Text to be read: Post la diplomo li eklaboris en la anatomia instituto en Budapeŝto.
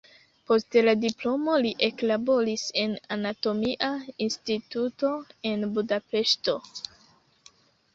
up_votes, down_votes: 2, 0